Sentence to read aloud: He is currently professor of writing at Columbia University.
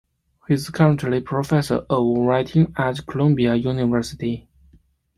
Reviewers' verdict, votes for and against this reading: accepted, 2, 0